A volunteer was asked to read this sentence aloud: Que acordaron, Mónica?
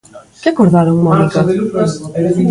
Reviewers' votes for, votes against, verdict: 1, 2, rejected